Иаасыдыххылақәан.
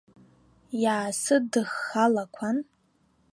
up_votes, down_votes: 0, 2